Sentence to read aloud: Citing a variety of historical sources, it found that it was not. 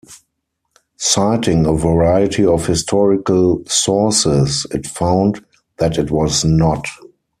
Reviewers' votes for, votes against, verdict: 4, 0, accepted